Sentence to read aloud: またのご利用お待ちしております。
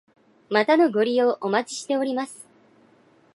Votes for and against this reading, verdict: 1, 2, rejected